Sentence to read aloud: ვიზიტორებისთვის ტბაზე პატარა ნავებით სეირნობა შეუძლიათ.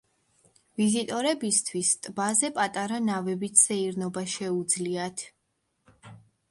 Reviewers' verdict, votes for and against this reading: accepted, 2, 0